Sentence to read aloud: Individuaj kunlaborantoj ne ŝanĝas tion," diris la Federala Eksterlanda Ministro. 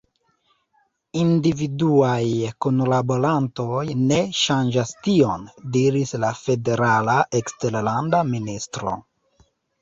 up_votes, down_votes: 1, 2